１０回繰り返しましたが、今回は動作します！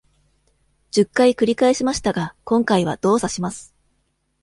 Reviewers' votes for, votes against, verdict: 0, 2, rejected